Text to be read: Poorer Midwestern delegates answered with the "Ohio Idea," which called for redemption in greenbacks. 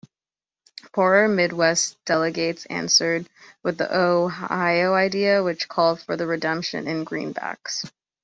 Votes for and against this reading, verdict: 2, 1, accepted